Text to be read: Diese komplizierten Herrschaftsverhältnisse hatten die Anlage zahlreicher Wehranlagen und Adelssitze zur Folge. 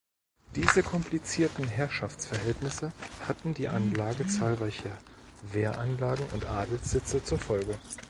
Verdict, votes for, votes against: rejected, 0, 2